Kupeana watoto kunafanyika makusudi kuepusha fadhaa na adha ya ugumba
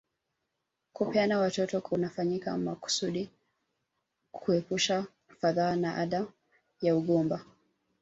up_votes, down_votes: 1, 2